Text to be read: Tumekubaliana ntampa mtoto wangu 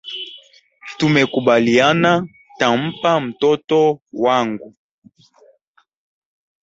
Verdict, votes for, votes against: accepted, 2, 0